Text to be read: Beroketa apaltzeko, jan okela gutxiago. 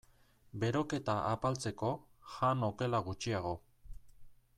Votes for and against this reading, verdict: 2, 0, accepted